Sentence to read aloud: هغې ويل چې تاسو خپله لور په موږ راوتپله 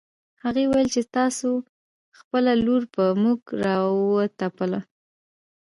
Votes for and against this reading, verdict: 1, 2, rejected